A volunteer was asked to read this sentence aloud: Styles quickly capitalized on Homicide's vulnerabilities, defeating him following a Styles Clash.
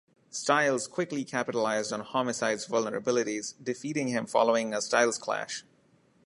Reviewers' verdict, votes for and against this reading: accepted, 2, 0